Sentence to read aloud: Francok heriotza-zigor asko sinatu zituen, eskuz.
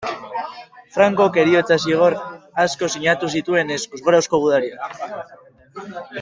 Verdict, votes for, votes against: rejected, 1, 2